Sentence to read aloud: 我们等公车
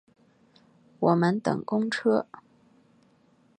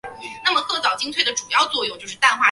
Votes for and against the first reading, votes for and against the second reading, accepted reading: 6, 0, 0, 2, first